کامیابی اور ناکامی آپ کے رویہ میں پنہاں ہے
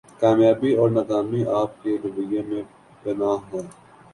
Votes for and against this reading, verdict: 2, 0, accepted